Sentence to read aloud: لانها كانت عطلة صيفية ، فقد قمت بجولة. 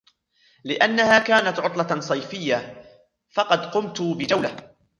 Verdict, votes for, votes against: accepted, 2, 0